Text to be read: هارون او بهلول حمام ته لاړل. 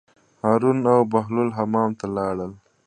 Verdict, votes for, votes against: accepted, 2, 0